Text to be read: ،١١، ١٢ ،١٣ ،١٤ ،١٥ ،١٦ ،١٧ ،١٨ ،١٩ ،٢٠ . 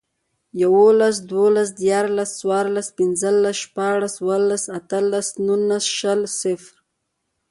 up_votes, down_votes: 0, 2